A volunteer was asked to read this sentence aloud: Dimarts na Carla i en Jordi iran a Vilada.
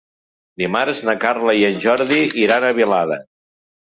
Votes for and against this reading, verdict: 2, 0, accepted